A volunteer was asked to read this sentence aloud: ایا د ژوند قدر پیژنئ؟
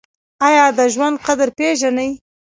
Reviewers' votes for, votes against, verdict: 2, 1, accepted